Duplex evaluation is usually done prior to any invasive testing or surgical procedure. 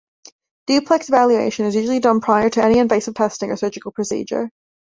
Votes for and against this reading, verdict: 2, 0, accepted